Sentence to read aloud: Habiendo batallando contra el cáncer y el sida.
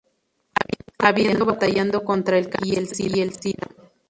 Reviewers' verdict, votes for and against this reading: rejected, 0, 2